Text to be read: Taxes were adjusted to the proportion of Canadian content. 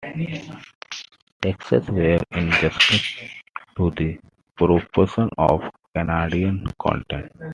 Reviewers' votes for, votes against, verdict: 2, 1, accepted